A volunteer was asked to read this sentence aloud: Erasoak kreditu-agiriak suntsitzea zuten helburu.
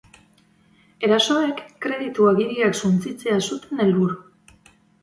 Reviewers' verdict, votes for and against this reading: accepted, 2, 0